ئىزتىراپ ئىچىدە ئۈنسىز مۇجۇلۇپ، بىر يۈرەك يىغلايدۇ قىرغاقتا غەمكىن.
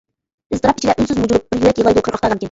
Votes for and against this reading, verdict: 0, 2, rejected